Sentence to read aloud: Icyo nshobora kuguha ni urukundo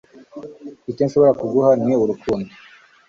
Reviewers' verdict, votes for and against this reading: accepted, 2, 0